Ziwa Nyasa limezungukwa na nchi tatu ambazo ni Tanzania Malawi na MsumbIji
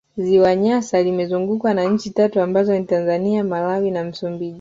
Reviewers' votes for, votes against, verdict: 2, 0, accepted